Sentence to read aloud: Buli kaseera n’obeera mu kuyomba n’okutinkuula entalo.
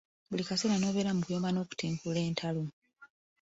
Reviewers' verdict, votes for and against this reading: accepted, 2, 0